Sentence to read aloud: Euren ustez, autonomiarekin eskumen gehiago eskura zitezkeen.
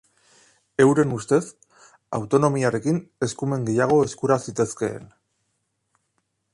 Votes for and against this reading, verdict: 2, 0, accepted